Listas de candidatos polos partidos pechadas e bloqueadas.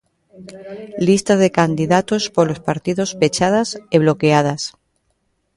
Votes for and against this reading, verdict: 1, 2, rejected